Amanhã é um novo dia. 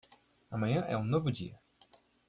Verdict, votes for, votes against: accepted, 2, 0